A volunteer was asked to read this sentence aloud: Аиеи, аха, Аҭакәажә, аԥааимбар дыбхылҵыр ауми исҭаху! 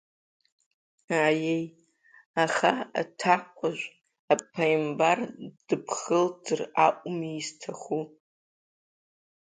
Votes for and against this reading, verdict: 2, 0, accepted